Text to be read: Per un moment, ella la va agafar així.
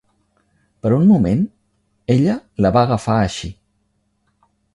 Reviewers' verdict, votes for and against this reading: accepted, 4, 0